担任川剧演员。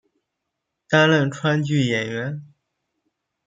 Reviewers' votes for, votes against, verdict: 1, 2, rejected